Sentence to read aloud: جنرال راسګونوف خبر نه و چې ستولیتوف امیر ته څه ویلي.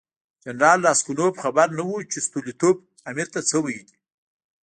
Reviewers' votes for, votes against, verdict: 0, 2, rejected